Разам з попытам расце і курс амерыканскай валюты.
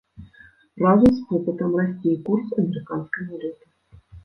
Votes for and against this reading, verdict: 0, 2, rejected